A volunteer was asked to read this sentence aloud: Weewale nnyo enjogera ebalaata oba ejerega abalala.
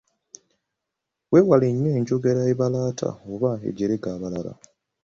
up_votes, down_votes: 2, 0